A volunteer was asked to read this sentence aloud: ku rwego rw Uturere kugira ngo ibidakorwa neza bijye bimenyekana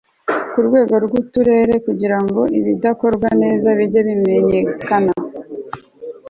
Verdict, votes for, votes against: accepted, 2, 0